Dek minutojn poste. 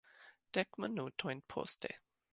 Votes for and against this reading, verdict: 0, 2, rejected